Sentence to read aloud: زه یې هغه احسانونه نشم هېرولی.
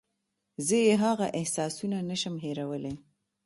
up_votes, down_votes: 2, 0